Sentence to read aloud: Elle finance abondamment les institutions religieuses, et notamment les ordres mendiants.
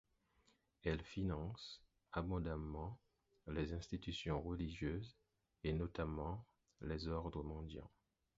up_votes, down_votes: 4, 0